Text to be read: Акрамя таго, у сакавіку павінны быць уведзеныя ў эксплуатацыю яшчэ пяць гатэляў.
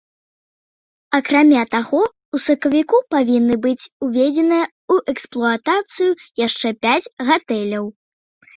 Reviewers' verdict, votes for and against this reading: accepted, 2, 0